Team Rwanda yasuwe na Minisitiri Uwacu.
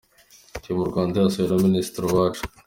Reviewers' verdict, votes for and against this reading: accepted, 3, 0